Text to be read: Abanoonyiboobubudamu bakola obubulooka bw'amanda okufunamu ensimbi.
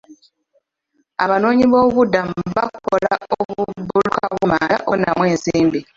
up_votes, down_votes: 2, 1